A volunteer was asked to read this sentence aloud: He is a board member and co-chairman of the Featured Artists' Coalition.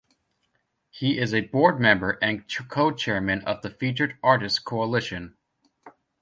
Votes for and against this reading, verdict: 1, 2, rejected